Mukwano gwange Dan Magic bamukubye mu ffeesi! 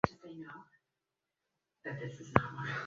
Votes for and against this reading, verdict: 1, 2, rejected